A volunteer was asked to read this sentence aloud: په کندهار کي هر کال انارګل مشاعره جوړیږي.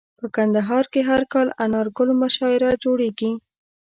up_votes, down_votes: 2, 0